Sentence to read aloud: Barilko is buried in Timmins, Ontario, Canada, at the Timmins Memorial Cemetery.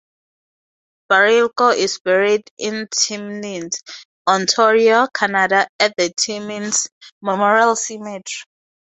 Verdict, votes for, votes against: rejected, 0, 2